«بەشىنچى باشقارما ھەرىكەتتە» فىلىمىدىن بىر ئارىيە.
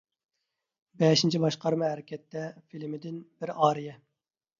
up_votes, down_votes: 2, 1